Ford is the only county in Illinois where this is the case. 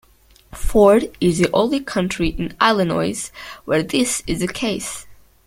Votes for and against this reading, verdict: 0, 2, rejected